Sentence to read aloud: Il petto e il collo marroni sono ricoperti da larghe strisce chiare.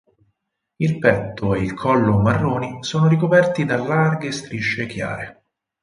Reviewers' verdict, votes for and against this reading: accepted, 6, 0